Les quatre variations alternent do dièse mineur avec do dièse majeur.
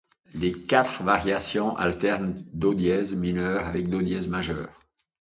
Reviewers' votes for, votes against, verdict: 2, 0, accepted